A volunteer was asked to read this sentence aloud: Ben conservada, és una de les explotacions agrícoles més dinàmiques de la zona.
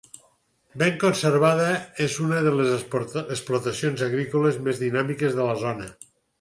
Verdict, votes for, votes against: rejected, 2, 4